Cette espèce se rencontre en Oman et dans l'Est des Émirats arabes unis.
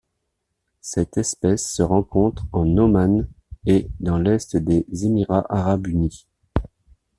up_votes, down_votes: 0, 2